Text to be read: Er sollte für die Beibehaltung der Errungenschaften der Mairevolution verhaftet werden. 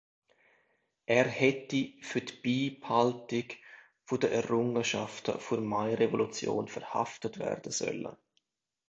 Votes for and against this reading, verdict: 0, 2, rejected